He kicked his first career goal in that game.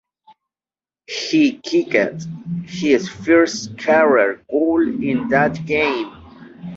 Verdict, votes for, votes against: rejected, 0, 2